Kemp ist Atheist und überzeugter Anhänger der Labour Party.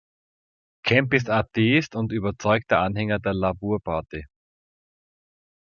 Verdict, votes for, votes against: rejected, 0, 2